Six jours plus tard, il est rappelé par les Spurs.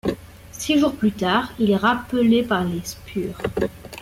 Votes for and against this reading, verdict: 2, 0, accepted